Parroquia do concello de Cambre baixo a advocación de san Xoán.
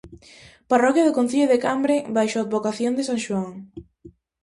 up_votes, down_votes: 2, 0